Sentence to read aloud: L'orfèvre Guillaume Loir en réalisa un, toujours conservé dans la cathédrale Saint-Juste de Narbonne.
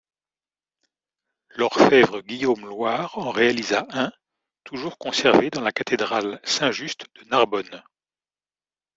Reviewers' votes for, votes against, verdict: 2, 0, accepted